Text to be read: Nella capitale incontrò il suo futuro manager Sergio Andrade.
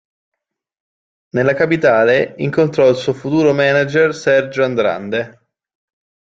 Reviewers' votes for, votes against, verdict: 0, 2, rejected